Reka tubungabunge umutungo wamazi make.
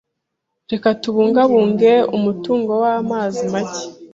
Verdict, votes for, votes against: accepted, 2, 0